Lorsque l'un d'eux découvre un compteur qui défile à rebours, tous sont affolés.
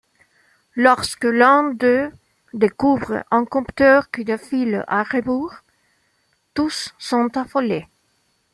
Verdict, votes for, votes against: accepted, 2, 0